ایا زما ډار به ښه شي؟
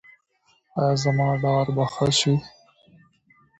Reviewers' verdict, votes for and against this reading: accepted, 2, 1